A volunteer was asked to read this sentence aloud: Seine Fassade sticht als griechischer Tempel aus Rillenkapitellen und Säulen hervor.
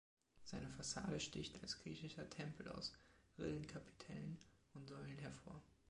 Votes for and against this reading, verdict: 2, 0, accepted